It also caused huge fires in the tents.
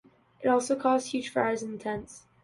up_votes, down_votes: 2, 0